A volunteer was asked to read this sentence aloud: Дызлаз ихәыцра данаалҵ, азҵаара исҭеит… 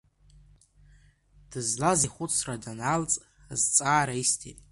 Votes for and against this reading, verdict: 2, 0, accepted